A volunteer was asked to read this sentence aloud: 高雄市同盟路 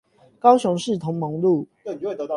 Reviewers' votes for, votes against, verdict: 8, 0, accepted